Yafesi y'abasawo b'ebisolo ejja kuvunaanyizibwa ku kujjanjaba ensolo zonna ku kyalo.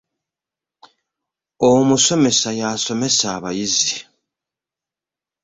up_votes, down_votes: 0, 2